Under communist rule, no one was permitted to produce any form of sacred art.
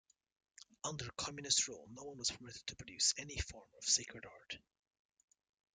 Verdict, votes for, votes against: rejected, 0, 2